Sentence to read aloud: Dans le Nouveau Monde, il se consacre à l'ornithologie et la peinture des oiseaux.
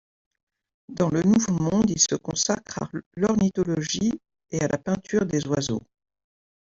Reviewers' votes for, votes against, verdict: 1, 2, rejected